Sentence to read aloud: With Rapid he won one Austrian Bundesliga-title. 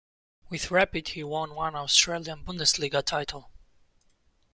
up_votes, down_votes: 0, 2